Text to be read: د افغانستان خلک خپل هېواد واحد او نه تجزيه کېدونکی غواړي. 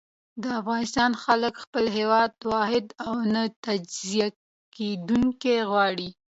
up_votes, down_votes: 2, 0